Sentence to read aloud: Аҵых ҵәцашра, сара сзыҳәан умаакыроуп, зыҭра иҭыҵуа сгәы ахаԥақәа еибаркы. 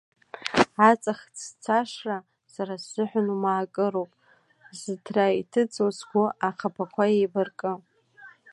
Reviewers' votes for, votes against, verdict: 3, 1, accepted